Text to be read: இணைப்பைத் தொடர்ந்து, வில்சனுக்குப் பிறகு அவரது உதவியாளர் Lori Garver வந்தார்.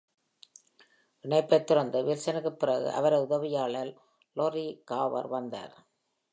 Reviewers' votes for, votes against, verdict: 2, 0, accepted